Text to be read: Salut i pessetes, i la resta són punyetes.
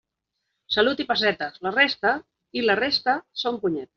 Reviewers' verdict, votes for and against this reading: rejected, 0, 3